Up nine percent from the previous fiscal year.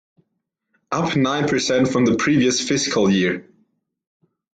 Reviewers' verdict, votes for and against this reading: accepted, 2, 0